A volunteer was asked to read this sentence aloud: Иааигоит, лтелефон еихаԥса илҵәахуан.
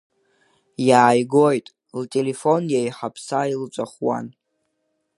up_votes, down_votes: 3, 0